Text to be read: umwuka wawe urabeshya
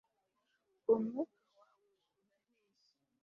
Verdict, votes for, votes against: rejected, 1, 2